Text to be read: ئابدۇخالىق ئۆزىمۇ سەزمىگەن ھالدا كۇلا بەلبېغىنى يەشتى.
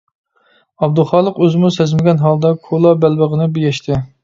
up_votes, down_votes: 1, 2